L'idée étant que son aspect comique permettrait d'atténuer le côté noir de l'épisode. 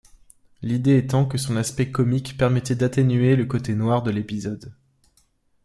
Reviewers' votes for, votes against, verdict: 0, 2, rejected